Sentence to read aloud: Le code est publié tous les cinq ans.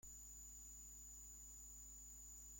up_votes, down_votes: 0, 2